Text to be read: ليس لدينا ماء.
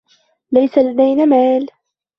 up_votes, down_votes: 0, 2